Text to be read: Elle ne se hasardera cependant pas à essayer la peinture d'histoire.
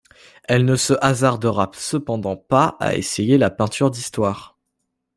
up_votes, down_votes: 2, 0